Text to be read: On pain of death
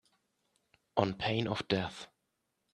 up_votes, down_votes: 2, 0